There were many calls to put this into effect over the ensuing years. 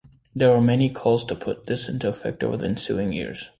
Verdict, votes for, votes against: accepted, 2, 0